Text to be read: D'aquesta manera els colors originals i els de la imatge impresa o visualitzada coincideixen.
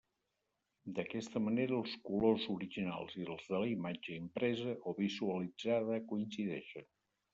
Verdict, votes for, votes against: rejected, 1, 2